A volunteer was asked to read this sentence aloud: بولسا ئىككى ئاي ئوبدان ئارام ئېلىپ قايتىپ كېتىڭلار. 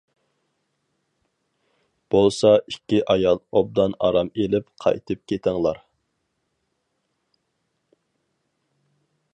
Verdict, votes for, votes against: rejected, 0, 4